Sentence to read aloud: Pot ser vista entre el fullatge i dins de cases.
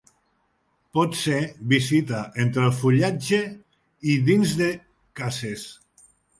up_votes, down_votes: 1, 2